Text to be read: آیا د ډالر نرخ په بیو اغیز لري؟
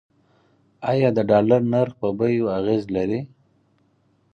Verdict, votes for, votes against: accepted, 4, 0